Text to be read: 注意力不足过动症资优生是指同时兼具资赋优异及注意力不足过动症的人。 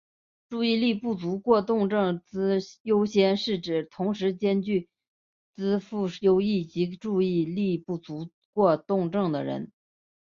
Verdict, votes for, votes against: accepted, 2, 0